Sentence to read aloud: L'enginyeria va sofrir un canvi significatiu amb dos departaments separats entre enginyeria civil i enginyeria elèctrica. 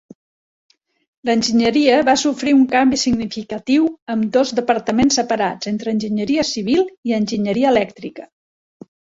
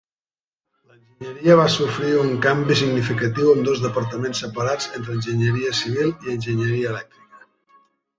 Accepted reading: first